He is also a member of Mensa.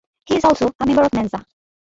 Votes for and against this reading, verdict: 2, 1, accepted